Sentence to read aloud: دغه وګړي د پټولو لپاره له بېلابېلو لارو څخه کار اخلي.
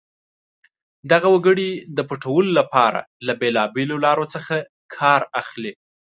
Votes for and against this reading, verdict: 2, 0, accepted